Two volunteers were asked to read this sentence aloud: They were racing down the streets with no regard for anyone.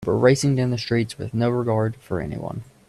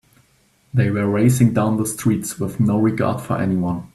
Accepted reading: second